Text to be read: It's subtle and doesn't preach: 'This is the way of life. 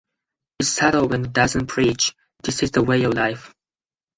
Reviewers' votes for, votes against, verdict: 2, 4, rejected